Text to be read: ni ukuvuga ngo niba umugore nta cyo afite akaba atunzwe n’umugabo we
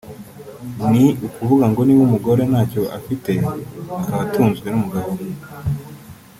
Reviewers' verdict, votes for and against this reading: rejected, 1, 2